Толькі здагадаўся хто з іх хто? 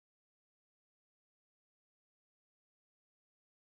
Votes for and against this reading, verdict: 0, 2, rejected